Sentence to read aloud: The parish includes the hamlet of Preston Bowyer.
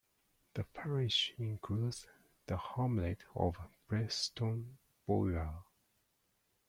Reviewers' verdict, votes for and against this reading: rejected, 0, 2